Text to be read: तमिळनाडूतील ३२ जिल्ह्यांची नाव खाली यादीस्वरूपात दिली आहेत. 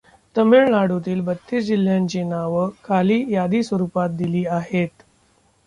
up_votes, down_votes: 0, 2